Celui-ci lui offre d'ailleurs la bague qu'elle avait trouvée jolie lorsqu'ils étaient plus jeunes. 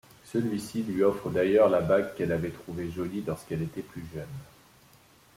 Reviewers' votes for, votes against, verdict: 1, 2, rejected